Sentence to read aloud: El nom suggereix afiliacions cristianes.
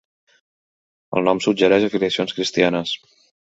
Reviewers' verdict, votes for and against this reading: accepted, 2, 0